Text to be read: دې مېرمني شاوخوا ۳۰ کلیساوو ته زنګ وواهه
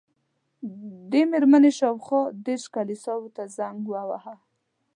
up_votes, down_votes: 0, 2